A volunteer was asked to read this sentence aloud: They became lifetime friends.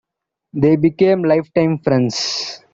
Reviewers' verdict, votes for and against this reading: accepted, 2, 0